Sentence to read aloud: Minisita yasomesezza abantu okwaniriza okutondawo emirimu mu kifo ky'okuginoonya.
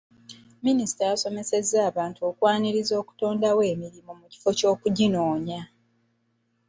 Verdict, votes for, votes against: accepted, 2, 1